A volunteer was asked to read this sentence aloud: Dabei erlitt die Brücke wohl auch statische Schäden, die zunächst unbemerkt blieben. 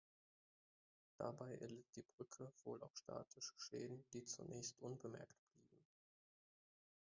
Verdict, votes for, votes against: rejected, 0, 2